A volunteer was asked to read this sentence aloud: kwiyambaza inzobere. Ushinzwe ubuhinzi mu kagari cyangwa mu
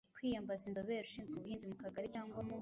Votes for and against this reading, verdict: 0, 2, rejected